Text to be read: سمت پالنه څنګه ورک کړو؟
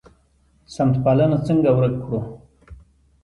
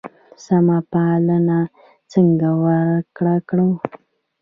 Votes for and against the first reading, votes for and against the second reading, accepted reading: 2, 1, 0, 2, first